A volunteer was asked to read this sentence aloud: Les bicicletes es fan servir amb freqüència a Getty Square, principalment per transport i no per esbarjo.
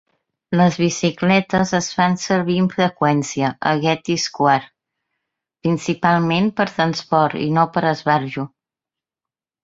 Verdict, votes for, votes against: accepted, 2, 0